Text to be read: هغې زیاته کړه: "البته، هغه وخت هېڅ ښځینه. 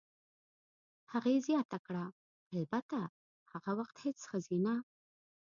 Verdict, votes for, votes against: rejected, 0, 2